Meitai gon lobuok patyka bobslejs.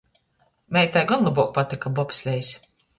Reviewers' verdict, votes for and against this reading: accepted, 2, 0